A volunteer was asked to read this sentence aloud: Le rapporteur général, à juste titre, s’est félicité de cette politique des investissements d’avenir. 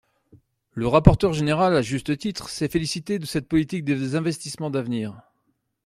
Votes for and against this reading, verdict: 0, 2, rejected